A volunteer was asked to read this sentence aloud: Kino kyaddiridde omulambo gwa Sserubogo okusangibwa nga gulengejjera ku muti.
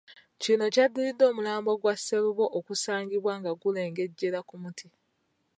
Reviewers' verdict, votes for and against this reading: rejected, 0, 2